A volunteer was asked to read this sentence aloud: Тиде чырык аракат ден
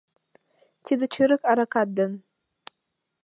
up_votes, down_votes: 2, 0